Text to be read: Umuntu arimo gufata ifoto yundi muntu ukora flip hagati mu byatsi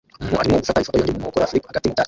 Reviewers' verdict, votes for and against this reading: rejected, 0, 3